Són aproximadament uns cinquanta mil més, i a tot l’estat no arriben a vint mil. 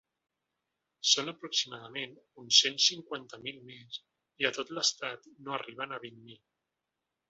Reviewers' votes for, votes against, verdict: 1, 2, rejected